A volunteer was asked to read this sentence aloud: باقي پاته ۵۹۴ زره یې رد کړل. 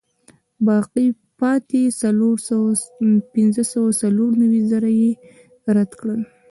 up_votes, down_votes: 0, 2